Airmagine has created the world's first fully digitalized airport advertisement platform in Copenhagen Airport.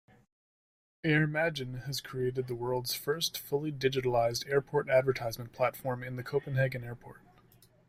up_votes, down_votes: 0, 2